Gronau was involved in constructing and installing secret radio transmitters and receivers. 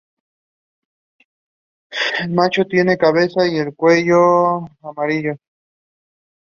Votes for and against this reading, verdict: 0, 2, rejected